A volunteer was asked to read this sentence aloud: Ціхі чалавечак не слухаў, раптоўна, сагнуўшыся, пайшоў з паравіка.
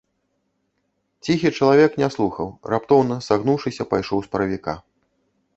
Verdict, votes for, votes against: rejected, 1, 2